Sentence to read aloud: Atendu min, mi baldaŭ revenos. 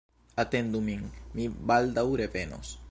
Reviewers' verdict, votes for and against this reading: accepted, 2, 1